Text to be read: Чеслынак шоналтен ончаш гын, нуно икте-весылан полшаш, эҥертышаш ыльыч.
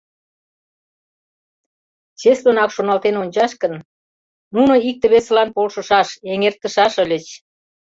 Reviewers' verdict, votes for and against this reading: rejected, 1, 2